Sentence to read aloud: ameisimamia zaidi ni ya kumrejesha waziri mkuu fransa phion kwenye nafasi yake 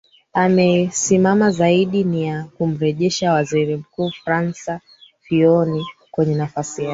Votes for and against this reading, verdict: 0, 4, rejected